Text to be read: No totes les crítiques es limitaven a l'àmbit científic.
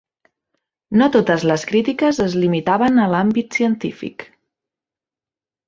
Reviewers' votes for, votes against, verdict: 3, 0, accepted